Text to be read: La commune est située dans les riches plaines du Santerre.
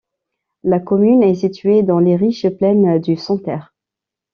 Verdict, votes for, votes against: accepted, 2, 0